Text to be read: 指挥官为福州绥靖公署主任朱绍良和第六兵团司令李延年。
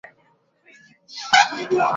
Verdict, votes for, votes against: rejected, 0, 3